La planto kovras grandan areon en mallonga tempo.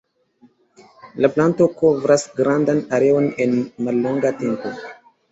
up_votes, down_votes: 2, 0